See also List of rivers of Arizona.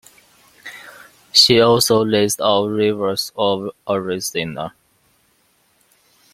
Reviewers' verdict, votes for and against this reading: rejected, 0, 2